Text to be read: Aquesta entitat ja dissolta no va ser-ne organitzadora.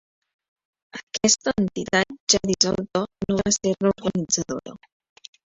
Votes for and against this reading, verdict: 1, 2, rejected